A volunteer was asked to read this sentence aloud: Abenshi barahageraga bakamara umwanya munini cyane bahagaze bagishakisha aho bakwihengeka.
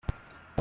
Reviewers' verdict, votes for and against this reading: rejected, 0, 2